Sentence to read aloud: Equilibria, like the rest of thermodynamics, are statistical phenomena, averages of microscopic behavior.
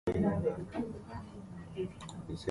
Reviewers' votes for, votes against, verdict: 0, 2, rejected